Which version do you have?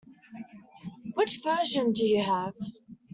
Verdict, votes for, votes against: accepted, 2, 1